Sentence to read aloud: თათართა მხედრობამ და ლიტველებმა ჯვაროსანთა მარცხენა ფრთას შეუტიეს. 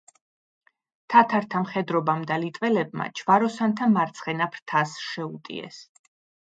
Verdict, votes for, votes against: accepted, 2, 0